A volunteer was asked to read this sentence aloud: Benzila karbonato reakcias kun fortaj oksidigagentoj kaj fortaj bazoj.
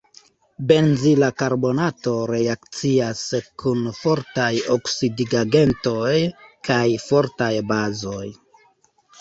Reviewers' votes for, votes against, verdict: 2, 0, accepted